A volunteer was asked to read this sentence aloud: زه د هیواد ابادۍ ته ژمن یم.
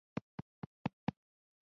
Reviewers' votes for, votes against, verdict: 3, 2, accepted